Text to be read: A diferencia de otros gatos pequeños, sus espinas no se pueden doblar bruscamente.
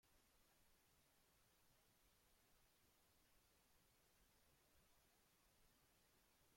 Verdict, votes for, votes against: rejected, 0, 2